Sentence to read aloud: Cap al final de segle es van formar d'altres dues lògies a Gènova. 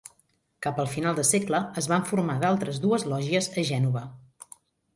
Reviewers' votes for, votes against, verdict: 3, 0, accepted